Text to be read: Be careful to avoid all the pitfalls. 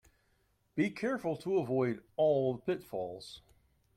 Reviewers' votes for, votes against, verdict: 0, 2, rejected